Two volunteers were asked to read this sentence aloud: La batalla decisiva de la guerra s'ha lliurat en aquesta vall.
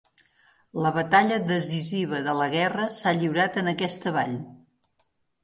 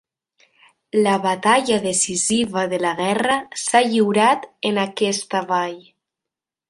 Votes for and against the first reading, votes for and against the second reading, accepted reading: 2, 0, 0, 2, first